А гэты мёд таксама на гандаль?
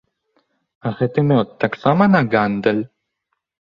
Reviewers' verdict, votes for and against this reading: accepted, 2, 0